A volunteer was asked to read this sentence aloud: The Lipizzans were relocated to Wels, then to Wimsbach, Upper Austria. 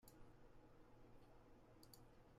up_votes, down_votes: 0, 2